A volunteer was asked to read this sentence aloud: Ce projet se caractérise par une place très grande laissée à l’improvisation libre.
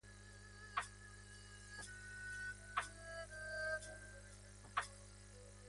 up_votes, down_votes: 0, 2